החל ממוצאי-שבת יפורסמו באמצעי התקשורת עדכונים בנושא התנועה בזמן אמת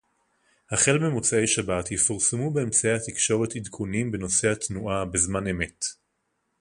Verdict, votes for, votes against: accepted, 2, 0